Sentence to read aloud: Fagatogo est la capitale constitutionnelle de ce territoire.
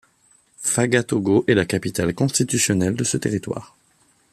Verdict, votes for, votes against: accepted, 2, 0